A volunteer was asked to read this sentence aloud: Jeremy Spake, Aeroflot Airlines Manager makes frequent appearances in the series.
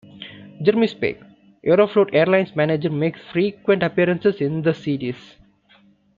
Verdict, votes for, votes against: accepted, 2, 0